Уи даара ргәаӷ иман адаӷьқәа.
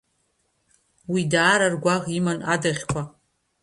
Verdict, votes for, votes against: accepted, 2, 0